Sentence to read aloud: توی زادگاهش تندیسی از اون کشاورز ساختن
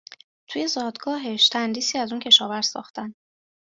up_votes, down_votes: 2, 0